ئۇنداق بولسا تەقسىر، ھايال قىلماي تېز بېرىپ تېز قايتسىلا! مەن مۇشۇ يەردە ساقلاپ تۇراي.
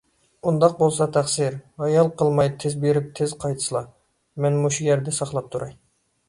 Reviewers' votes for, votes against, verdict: 2, 0, accepted